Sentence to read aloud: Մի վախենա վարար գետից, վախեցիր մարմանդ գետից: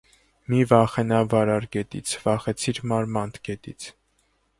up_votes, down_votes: 2, 1